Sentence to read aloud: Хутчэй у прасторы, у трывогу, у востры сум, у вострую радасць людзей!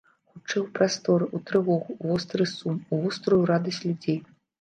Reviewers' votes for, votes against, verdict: 0, 2, rejected